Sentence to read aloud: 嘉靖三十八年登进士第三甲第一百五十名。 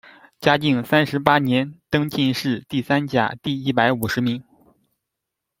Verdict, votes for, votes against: accepted, 2, 0